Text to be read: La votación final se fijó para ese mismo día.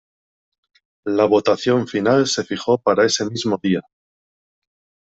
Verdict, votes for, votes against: accepted, 2, 0